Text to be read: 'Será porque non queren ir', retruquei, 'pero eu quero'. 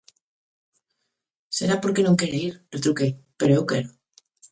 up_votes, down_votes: 0, 2